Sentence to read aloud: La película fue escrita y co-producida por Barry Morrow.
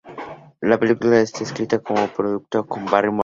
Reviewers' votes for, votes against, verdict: 0, 2, rejected